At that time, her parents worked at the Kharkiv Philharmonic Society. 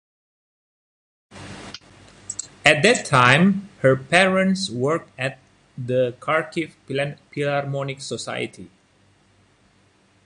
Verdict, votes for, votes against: rejected, 0, 2